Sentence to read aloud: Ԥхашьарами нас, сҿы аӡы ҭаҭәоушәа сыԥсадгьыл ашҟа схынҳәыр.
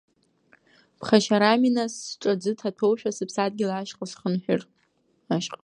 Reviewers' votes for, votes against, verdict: 0, 2, rejected